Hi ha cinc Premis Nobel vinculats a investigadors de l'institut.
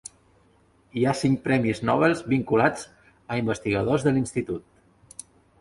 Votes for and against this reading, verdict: 1, 4, rejected